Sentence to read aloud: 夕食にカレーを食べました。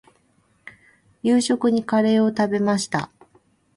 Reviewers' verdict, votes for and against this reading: accepted, 2, 0